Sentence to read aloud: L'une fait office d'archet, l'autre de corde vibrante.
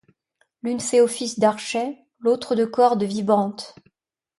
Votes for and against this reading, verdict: 1, 2, rejected